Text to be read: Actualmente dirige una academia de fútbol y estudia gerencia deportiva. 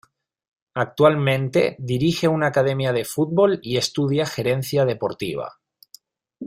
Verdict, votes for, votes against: accepted, 2, 0